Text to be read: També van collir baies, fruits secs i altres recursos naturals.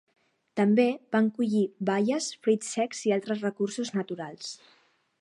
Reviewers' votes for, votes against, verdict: 3, 0, accepted